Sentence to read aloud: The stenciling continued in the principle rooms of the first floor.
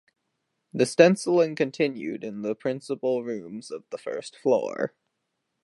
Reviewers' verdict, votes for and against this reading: accepted, 2, 0